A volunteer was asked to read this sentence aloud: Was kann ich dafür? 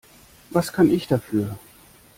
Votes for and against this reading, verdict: 2, 0, accepted